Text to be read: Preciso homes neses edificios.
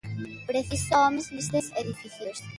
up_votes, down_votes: 1, 2